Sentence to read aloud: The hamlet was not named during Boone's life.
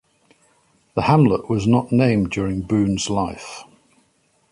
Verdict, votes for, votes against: accepted, 2, 0